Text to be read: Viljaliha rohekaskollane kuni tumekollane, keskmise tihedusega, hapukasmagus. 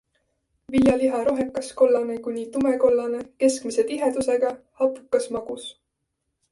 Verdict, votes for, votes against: accepted, 3, 0